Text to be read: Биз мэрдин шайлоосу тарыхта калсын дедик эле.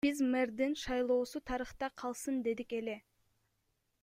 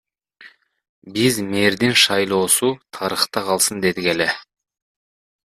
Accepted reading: second